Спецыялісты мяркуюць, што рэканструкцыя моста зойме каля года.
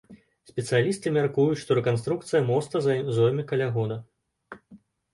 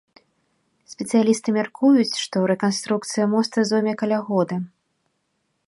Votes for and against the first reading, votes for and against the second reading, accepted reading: 0, 2, 3, 0, second